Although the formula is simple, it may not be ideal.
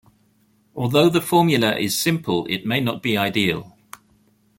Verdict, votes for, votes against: accepted, 2, 0